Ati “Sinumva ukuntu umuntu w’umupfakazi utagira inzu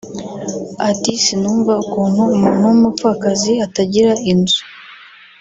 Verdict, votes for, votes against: rejected, 0, 2